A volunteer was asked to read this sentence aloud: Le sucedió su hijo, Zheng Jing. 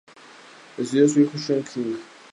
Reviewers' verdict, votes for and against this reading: rejected, 0, 2